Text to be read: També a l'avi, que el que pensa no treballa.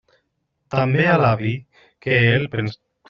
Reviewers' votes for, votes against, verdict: 0, 2, rejected